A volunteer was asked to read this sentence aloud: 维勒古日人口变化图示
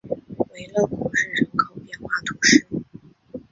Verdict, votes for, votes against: accepted, 4, 1